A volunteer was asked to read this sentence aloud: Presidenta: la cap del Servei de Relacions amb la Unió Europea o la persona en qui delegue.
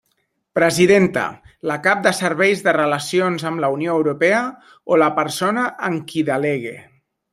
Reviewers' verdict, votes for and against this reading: rejected, 1, 2